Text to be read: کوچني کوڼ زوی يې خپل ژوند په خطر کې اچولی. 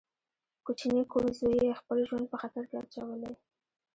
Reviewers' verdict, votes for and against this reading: accepted, 2, 0